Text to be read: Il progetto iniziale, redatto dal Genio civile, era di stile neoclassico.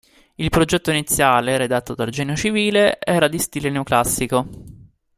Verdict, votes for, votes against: accepted, 3, 0